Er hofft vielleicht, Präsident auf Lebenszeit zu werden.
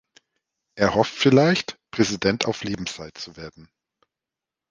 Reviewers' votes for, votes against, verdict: 2, 0, accepted